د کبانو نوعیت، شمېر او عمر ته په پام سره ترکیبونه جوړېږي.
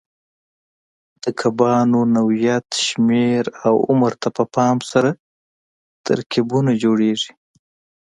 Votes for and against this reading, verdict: 2, 0, accepted